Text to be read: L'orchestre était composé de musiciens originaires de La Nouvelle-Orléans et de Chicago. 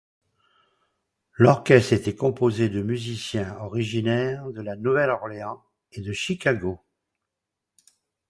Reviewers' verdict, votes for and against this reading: accepted, 2, 0